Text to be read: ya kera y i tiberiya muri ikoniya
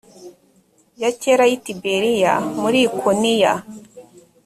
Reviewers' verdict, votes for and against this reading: accepted, 2, 0